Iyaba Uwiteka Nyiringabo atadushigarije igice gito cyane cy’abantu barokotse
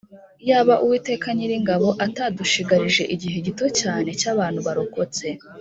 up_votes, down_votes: 1, 2